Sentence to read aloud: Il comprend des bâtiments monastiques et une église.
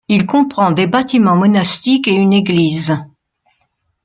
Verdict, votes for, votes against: accepted, 2, 0